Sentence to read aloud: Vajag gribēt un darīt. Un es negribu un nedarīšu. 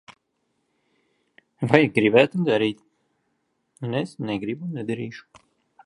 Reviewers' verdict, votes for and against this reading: rejected, 1, 2